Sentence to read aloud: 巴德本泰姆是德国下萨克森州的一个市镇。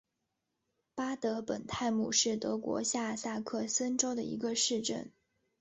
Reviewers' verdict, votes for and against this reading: accepted, 3, 0